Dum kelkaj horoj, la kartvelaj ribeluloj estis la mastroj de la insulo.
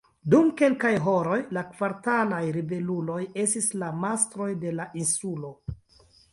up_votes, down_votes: 1, 2